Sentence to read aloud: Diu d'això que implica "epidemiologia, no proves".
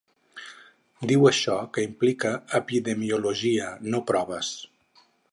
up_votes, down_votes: 2, 4